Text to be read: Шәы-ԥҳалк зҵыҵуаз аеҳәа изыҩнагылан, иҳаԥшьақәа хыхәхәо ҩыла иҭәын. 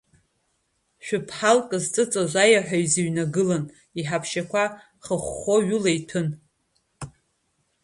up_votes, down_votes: 2, 0